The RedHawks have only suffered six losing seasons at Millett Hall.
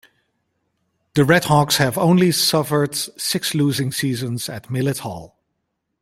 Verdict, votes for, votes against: accepted, 2, 1